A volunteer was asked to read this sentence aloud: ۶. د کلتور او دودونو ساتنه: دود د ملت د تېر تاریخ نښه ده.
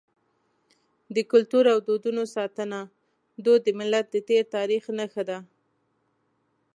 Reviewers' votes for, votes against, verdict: 0, 2, rejected